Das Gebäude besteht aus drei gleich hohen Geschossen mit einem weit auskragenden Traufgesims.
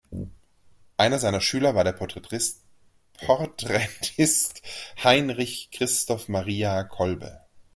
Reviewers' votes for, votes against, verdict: 0, 2, rejected